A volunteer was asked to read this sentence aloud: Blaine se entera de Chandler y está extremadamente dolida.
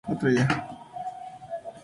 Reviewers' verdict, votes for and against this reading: rejected, 0, 4